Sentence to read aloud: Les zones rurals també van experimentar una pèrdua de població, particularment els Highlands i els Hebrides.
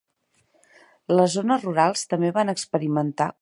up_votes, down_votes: 1, 3